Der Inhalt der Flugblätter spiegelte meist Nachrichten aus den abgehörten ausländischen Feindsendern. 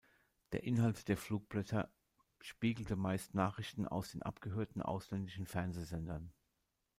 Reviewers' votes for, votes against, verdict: 0, 2, rejected